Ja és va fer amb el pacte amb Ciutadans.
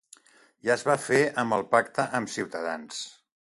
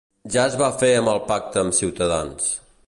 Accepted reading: first